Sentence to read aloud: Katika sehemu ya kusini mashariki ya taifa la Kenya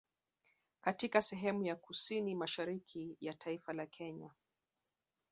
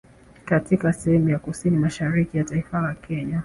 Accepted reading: second